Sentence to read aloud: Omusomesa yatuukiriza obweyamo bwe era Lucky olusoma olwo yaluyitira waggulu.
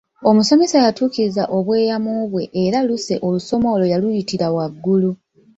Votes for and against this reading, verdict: 0, 2, rejected